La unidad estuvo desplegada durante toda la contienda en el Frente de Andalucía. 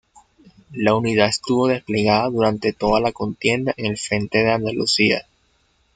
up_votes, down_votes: 1, 2